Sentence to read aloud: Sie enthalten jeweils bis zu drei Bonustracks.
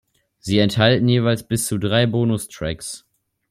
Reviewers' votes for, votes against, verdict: 2, 0, accepted